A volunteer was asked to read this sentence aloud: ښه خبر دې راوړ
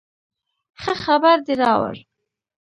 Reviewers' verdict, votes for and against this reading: rejected, 1, 2